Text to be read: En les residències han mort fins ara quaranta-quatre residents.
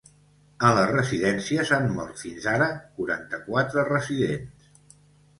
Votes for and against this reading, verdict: 2, 0, accepted